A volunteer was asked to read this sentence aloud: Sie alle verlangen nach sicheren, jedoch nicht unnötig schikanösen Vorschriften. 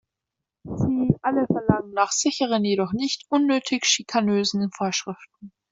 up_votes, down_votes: 2, 0